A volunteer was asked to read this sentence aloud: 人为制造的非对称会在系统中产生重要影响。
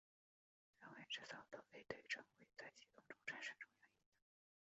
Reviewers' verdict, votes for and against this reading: rejected, 0, 3